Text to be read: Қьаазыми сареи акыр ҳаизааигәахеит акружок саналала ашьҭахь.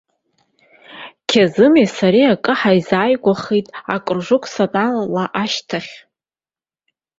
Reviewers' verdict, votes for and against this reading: accepted, 2, 1